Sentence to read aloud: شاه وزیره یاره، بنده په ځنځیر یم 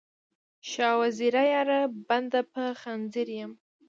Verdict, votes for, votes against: rejected, 1, 2